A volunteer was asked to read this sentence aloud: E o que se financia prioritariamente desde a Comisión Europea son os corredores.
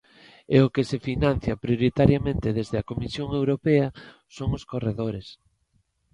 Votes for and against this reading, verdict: 2, 1, accepted